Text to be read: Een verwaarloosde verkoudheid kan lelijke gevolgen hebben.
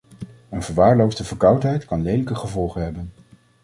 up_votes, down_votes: 2, 0